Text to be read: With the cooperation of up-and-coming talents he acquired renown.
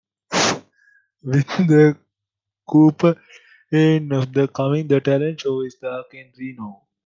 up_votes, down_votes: 0, 2